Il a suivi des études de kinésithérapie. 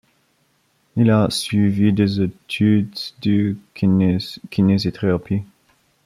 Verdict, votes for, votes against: rejected, 0, 2